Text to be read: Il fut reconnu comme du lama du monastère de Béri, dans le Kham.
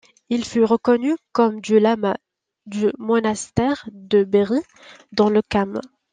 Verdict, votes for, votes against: rejected, 1, 2